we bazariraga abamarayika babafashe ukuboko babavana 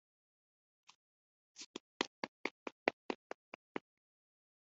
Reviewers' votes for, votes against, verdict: 0, 2, rejected